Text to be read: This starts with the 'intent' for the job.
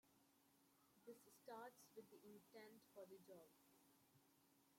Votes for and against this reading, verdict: 1, 2, rejected